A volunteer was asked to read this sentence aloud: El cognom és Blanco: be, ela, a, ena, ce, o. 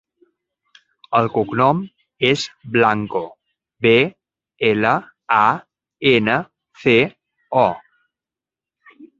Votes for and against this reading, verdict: 4, 0, accepted